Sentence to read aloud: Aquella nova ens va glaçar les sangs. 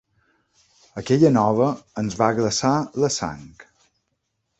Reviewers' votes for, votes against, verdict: 0, 2, rejected